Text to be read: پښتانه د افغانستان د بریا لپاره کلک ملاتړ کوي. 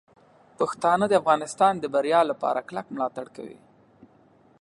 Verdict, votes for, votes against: accepted, 2, 0